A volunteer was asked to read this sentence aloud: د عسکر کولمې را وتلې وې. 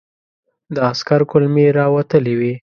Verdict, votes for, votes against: accepted, 2, 0